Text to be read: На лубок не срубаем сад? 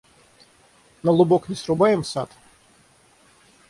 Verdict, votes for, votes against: accepted, 6, 0